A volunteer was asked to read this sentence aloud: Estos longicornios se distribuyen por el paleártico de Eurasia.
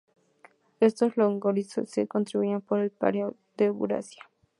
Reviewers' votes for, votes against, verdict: 0, 2, rejected